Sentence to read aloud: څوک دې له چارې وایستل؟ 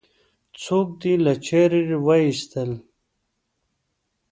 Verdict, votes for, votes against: accepted, 2, 0